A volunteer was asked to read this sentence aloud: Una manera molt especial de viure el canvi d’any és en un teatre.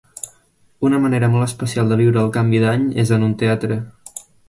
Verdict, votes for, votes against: accepted, 3, 0